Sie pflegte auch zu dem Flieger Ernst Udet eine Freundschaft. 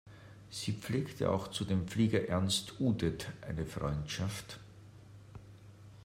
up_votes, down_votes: 2, 0